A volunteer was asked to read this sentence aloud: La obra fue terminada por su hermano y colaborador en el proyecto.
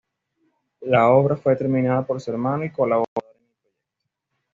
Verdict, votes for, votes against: rejected, 1, 2